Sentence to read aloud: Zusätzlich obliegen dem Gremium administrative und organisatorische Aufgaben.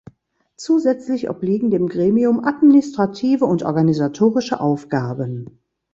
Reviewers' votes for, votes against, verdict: 2, 0, accepted